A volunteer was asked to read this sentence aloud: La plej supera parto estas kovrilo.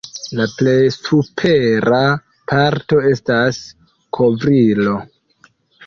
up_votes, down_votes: 1, 2